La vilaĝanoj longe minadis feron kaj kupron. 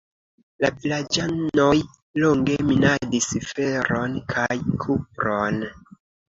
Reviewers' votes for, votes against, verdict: 2, 0, accepted